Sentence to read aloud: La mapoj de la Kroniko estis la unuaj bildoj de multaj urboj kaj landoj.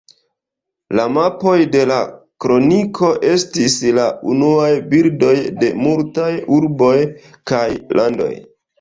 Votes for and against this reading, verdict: 0, 2, rejected